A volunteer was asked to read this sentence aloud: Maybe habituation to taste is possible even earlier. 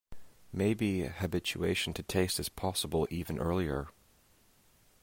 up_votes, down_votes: 2, 0